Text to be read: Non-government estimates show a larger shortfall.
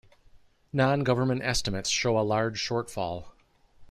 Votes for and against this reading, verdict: 1, 2, rejected